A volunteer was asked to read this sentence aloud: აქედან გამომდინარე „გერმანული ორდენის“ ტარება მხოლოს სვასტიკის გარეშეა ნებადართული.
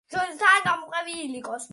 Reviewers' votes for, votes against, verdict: 0, 2, rejected